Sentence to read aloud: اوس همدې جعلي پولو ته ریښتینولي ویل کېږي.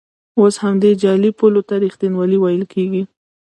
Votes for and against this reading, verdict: 0, 2, rejected